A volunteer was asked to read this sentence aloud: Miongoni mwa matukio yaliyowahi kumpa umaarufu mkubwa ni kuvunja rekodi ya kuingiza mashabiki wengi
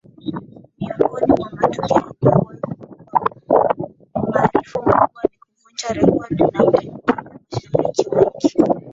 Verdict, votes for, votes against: rejected, 0, 2